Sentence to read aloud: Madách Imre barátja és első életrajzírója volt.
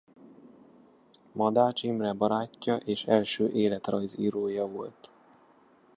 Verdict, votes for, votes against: accepted, 2, 0